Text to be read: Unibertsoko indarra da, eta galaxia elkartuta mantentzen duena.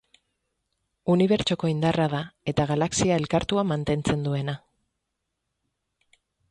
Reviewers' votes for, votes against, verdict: 6, 0, accepted